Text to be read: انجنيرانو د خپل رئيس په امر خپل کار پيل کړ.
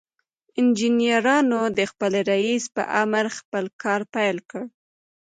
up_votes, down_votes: 1, 2